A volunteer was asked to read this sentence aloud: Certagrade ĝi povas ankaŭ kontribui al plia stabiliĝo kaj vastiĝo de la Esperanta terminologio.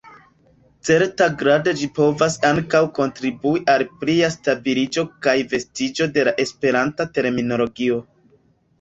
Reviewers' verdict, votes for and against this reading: rejected, 0, 2